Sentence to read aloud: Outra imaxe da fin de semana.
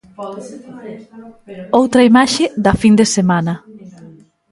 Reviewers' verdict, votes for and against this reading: rejected, 0, 2